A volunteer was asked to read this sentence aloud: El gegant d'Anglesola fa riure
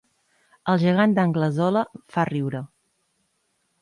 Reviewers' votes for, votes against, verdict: 4, 0, accepted